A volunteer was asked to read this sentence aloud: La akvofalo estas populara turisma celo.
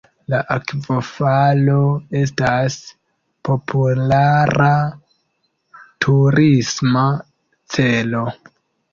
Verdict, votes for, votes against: accepted, 3, 0